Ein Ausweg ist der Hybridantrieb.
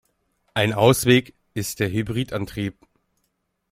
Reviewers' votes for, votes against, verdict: 2, 0, accepted